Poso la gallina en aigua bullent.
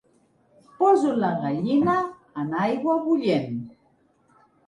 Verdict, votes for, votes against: accepted, 3, 1